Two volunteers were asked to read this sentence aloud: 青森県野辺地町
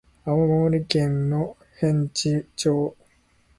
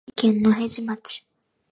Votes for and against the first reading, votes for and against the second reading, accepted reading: 0, 2, 6, 3, second